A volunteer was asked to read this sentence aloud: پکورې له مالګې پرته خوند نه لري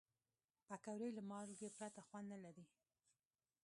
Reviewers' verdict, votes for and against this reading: rejected, 1, 2